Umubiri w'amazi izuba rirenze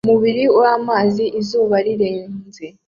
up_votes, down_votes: 2, 0